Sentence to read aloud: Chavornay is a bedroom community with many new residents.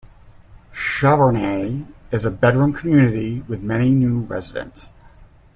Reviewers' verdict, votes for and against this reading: accepted, 2, 0